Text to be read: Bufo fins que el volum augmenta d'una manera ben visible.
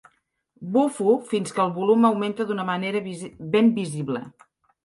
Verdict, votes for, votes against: rejected, 1, 2